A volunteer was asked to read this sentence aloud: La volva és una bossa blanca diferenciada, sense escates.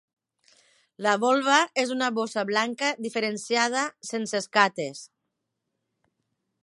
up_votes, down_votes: 3, 0